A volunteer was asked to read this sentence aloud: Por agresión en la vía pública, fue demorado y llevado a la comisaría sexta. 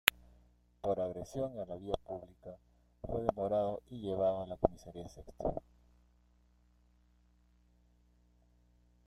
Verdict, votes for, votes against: rejected, 1, 2